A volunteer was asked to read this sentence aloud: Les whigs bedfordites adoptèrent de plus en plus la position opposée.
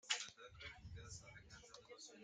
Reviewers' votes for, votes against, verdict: 0, 2, rejected